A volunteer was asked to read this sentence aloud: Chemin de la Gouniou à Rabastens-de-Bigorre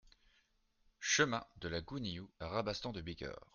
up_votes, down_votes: 1, 2